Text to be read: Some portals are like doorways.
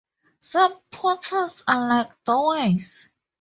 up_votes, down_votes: 4, 2